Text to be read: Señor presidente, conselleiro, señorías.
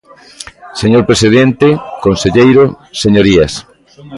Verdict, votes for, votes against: rejected, 1, 2